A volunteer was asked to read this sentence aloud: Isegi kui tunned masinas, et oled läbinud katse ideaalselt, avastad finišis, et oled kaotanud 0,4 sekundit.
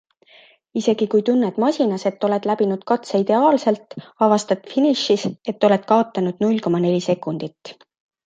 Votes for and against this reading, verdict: 0, 2, rejected